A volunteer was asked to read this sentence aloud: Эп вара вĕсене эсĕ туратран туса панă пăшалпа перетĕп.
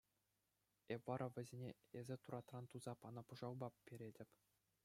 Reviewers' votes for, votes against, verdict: 2, 0, accepted